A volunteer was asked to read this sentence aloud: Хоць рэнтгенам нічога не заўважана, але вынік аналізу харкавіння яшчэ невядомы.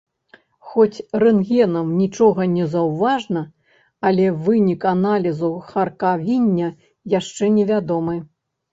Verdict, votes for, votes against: rejected, 1, 2